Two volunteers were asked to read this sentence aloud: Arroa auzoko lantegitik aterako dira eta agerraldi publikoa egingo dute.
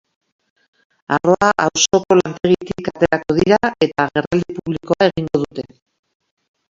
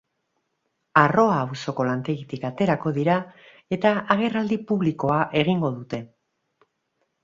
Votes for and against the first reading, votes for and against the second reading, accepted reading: 0, 2, 4, 1, second